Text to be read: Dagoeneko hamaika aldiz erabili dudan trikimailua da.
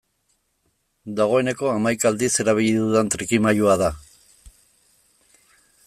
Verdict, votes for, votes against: accepted, 2, 0